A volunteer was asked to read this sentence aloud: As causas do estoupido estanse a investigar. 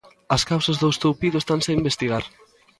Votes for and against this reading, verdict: 3, 0, accepted